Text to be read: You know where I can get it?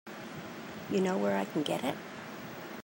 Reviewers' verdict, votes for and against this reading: accepted, 2, 0